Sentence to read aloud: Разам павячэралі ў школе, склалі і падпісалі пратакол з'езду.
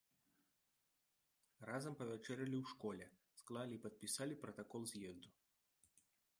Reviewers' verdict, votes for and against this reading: rejected, 0, 2